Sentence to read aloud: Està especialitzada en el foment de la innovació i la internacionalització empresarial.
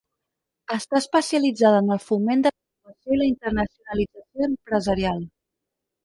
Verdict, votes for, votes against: rejected, 0, 4